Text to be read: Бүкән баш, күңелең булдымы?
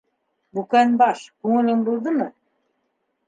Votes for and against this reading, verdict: 2, 0, accepted